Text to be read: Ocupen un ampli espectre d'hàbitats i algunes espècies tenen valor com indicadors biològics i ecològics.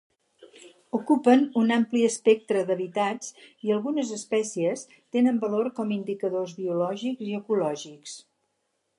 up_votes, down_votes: 0, 4